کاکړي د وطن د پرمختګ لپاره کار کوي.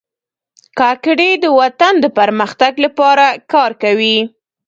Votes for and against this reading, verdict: 1, 2, rejected